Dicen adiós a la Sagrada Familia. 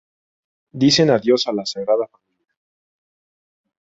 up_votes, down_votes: 0, 2